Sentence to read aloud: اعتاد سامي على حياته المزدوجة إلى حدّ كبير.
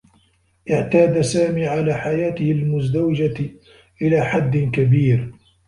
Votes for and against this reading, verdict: 1, 2, rejected